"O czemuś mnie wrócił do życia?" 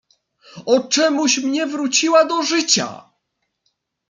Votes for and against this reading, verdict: 0, 2, rejected